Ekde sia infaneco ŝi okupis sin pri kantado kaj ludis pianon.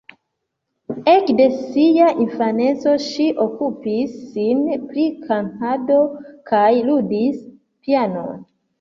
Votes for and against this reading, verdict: 2, 0, accepted